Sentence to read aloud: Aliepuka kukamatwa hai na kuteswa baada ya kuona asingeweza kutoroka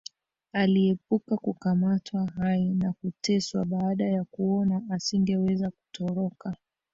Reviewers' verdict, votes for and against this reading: rejected, 1, 3